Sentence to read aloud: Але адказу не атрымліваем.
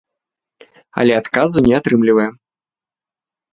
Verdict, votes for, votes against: accepted, 2, 0